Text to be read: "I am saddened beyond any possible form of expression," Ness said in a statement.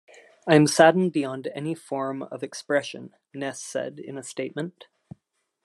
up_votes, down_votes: 0, 2